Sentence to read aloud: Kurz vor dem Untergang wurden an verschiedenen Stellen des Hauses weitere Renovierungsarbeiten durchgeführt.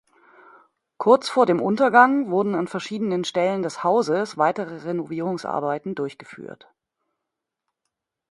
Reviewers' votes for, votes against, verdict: 2, 0, accepted